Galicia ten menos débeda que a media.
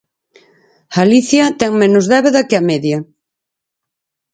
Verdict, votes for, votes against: accepted, 4, 0